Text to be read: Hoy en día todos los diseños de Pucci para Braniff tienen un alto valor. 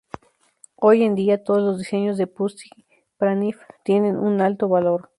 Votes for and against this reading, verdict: 0, 2, rejected